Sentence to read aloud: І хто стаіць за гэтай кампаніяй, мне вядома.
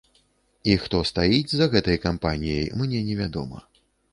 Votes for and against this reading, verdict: 0, 2, rejected